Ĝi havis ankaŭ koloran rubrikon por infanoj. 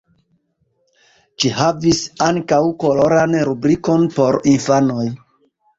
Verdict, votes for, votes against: rejected, 1, 2